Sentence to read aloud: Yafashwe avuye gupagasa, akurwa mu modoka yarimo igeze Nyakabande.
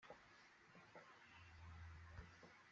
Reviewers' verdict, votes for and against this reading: rejected, 0, 2